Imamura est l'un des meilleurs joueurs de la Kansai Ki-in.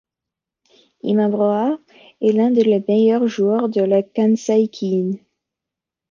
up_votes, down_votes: 2, 1